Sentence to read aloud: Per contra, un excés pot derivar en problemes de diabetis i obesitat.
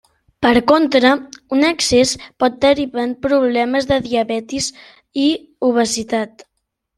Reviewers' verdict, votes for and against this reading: accepted, 2, 1